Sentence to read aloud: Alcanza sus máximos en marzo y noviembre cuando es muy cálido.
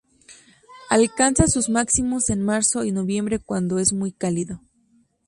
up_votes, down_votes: 2, 0